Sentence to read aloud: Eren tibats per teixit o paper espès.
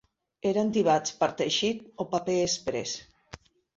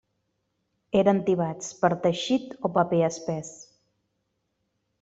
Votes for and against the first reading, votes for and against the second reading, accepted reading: 1, 2, 3, 0, second